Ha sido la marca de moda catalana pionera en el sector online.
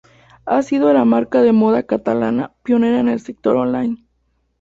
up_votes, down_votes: 2, 0